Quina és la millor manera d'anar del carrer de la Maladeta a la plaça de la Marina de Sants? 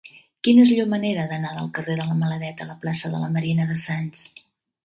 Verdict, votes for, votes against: rejected, 0, 2